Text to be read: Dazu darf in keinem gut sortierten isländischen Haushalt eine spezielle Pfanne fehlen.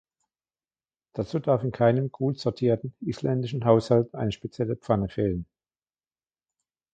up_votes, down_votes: 2, 1